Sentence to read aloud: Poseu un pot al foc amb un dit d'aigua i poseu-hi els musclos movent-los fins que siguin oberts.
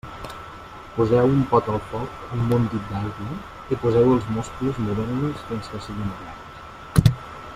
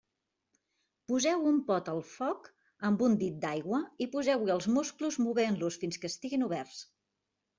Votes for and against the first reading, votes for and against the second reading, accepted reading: 0, 2, 2, 1, second